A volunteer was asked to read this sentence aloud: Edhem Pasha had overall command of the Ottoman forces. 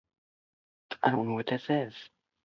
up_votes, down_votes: 0, 2